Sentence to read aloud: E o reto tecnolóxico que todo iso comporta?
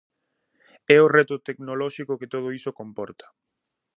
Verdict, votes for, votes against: accepted, 2, 0